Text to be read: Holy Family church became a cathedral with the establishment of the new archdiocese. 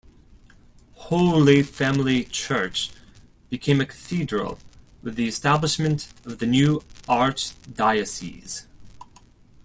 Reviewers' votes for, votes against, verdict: 2, 0, accepted